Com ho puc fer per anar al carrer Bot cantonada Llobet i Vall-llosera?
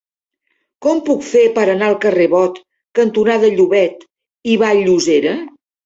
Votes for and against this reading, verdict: 1, 2, rejected